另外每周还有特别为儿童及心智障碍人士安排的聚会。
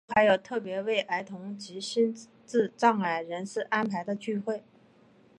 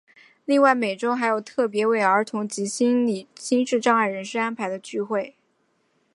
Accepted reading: first